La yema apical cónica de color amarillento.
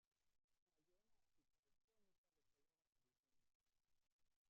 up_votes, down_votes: 0, 2